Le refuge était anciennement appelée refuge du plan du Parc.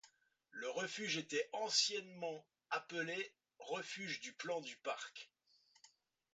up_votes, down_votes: 2, 0